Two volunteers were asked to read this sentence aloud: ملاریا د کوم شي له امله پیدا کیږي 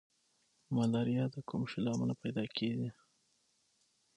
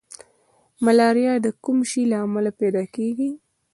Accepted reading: first